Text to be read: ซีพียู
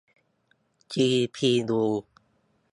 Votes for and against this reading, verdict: 2, 1, accepted